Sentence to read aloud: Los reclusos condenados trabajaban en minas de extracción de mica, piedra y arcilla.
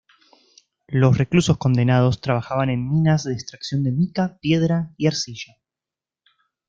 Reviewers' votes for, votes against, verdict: 2, 0, accepted